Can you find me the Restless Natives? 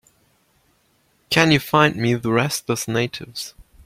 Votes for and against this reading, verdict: 2, 0, accepted